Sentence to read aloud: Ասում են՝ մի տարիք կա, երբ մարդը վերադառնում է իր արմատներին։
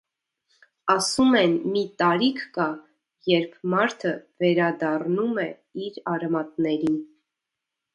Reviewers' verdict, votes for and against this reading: accepted, 2, 0